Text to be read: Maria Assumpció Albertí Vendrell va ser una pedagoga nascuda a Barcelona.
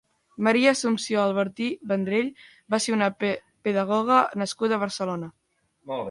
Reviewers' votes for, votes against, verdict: 0, 2, rejected